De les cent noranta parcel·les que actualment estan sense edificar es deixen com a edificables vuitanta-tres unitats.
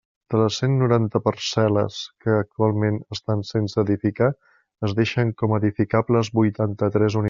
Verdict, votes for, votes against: rejected, 1, 2